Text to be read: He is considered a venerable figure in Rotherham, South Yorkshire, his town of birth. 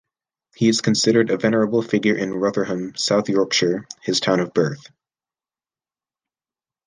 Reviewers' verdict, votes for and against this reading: accepted, 2, 0